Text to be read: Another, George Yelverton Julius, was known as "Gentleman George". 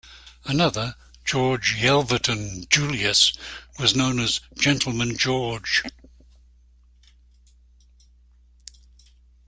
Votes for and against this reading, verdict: 2, 0, accepted